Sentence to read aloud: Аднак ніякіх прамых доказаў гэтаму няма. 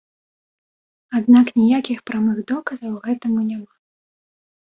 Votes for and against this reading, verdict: 2, 0, accepted